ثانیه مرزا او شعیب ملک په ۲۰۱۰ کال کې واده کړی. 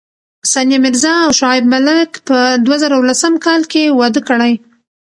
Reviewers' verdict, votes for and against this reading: rejected, 0, 2